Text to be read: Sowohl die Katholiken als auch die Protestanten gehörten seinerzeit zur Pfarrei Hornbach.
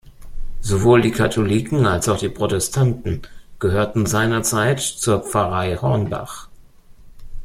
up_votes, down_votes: 2, 0